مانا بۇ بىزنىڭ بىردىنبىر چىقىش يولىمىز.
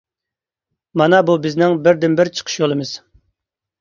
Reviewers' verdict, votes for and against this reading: accepted, 2, 0